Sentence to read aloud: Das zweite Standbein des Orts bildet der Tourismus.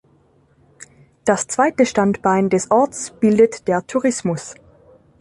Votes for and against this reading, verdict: 2, 0, accepted